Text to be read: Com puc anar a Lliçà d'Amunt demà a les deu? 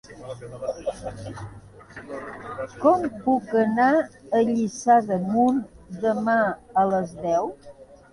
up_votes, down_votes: 1, 2